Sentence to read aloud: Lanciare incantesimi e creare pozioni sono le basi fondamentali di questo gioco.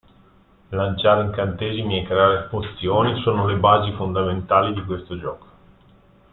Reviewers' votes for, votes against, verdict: 0, 2, rejected